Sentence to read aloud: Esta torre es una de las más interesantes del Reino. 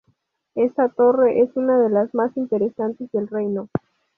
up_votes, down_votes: 2, 0